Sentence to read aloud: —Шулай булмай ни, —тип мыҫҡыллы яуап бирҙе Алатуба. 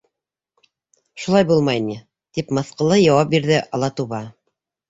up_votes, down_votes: 3, 0